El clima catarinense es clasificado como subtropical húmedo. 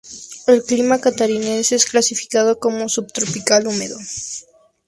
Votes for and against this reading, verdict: 2, 0, accepted